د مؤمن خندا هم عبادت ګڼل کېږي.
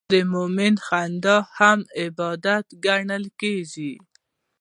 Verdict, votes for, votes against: accepted, 2, 0